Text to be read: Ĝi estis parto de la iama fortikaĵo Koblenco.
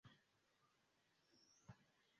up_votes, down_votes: 0, 2